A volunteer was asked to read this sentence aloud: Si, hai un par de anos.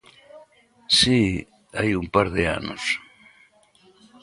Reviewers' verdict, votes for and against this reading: accepted, 2, 0